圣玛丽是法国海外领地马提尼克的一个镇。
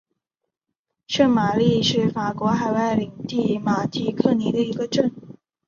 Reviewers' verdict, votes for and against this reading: rejected, 0, 2